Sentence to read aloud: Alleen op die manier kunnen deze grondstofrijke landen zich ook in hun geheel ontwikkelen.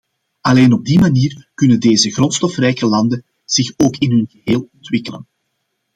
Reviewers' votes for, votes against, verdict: 2, 0, accepted